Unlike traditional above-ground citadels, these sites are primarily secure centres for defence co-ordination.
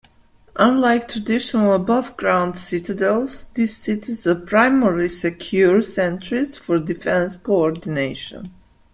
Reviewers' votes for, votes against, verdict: 1, 2, rejected